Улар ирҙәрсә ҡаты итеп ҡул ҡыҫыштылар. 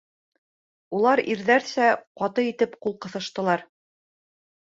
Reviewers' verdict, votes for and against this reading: accepted, 2, 0